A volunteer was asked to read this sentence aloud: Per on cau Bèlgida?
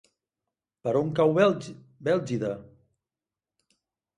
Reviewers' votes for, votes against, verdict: 1, 2, rejected